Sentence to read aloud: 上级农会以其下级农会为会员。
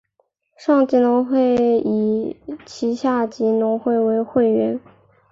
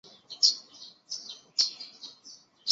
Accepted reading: first